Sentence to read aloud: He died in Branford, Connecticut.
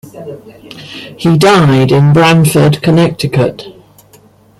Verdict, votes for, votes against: accepted, 2, 1